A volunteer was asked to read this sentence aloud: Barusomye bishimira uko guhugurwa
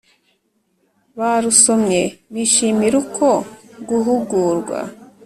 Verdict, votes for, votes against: accepted, 3, 0